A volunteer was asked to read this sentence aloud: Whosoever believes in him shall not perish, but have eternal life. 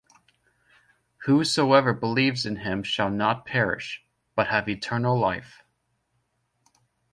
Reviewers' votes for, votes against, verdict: 2, 0, accepted